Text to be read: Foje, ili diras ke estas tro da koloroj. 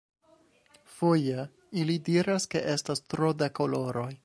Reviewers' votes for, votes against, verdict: 1, 2, rejected